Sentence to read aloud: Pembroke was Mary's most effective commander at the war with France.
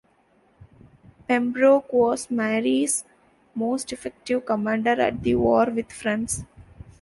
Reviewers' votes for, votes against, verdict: 2, 1, accepted